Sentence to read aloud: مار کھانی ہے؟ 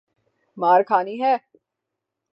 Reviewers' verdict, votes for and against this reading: accepted, 3, 0